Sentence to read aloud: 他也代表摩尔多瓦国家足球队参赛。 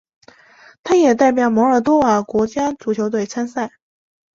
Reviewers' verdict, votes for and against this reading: accepted, 2, 0